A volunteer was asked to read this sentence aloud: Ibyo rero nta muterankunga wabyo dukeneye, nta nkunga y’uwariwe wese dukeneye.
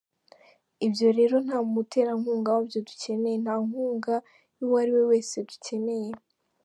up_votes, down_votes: 2, 1